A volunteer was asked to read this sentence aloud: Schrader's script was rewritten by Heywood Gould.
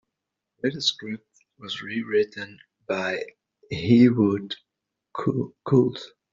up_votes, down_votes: 0, 2